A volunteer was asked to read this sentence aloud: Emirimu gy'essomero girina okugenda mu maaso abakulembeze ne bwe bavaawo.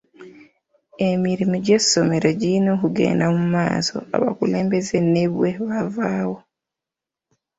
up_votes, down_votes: 1, 2